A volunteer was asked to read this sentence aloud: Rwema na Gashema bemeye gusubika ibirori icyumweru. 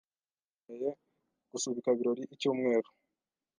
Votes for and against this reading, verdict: 1, 2, rejected